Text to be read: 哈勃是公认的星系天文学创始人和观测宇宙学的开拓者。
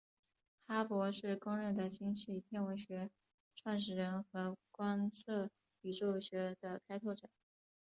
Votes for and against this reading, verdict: 0, 2, rejected